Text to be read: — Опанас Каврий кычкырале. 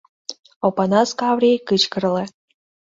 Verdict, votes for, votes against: rejected, 0, 3